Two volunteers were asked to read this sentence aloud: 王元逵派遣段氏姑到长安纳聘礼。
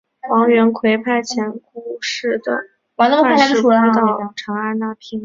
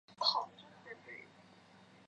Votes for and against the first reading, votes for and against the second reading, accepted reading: 3, 1, 0, 2, first